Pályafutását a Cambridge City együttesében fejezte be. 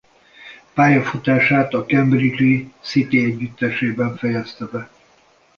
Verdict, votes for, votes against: rejected, 0, 2